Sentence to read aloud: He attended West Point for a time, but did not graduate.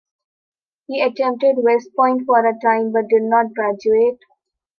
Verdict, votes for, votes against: accepted, 2, 1